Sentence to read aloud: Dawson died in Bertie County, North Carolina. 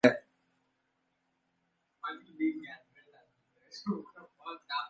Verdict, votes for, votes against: rejected, 0, 2